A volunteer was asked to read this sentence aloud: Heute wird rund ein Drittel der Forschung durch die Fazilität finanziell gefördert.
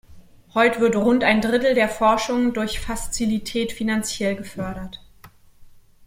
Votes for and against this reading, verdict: 1, 2, rejected